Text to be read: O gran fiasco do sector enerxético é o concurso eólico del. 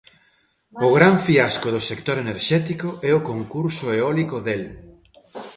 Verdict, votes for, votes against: accepted, 2, 0